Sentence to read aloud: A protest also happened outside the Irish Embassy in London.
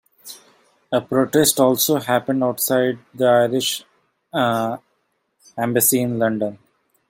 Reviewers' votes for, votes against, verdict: 1, 2, rejected